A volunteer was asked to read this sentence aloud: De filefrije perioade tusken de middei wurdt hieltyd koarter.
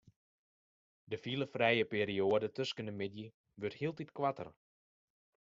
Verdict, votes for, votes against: accepted, 2, 0